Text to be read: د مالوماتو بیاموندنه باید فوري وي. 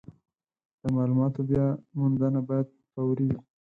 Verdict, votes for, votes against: rejected, 0, 4